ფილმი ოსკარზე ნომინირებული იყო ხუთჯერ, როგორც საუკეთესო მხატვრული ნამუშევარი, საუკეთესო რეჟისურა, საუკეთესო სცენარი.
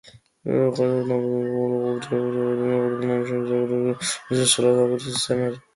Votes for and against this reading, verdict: 0, 2, rejected